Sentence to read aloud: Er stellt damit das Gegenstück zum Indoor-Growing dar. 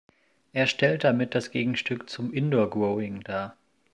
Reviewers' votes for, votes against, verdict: 2, 0, accepted